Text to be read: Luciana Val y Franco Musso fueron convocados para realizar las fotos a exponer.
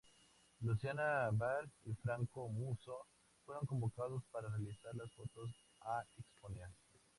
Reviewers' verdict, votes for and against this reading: accepted, 2, 0